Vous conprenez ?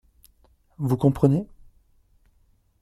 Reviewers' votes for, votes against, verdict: 2, 0, accepted